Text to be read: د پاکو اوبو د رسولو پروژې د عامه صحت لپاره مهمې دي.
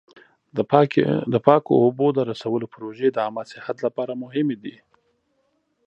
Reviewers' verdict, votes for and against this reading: rejected, 1, 2